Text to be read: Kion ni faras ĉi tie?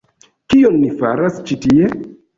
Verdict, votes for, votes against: accepted, 2, 0